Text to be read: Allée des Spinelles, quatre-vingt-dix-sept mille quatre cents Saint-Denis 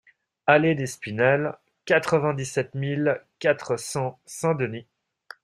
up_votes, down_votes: 2, 0